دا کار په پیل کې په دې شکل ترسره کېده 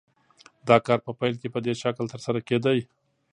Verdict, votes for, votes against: accepted, 2, 0